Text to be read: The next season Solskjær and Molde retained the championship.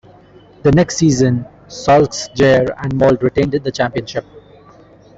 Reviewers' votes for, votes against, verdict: 0, 2, rejected